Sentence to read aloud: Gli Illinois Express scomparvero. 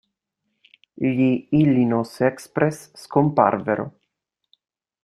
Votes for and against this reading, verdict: 1, 2, rejected